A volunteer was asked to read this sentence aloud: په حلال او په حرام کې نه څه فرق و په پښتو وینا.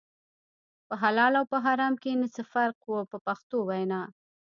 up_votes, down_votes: 0, 2